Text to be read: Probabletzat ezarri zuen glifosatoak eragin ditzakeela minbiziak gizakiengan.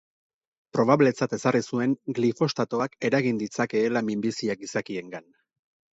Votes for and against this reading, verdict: 0, 2, rejected